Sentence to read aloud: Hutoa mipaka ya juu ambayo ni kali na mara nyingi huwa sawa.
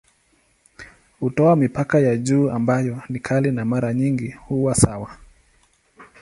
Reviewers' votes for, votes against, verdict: 5, 1, accepted